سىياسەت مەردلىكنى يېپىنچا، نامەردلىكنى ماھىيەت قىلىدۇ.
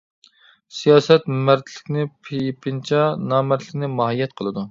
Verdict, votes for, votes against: rejected, 0, 2